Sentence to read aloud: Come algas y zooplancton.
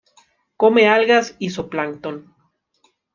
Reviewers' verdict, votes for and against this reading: rejected, 1, 2